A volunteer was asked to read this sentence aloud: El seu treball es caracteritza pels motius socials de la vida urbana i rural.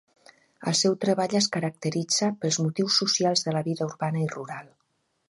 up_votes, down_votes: 4, 0